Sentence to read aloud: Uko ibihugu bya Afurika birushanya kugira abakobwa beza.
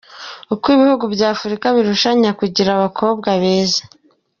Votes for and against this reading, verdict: 2, 0, accepted